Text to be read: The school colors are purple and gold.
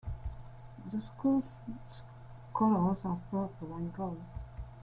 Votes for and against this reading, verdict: 1, 2, rejected